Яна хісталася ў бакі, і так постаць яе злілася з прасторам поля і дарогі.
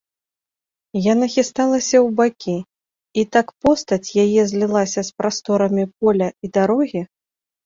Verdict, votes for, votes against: rejected, 0, 2